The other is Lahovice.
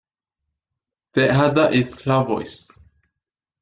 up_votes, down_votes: 0, 2